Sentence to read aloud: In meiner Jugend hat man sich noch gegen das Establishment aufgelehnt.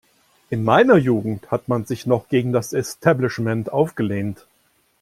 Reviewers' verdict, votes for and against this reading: accepted, 2, 0